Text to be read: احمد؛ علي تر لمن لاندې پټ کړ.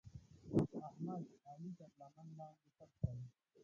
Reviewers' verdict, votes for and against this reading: rejected, 1, 2